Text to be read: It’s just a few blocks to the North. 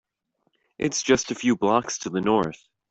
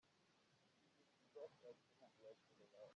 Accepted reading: first